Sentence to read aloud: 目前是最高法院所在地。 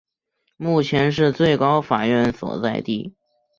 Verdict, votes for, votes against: rejected, 1, 2